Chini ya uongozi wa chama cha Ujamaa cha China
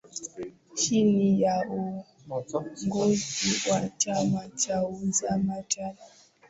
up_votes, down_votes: 5, 6